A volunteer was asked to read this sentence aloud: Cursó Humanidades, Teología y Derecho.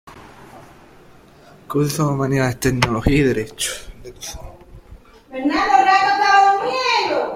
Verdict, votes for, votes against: rejected, 1, 2